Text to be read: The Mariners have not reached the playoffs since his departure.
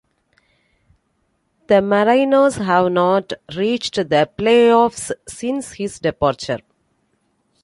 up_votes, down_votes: 2, 1